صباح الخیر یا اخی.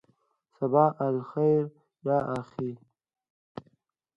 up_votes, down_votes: 1, 2